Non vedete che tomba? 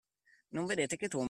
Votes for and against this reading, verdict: 0, 2, rejected